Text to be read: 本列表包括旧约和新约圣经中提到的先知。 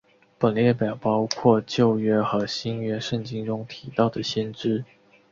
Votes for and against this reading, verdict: 2, 0, accepted